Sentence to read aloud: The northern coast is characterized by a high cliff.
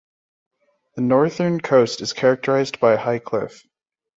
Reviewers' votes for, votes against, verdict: 2, 1, accepted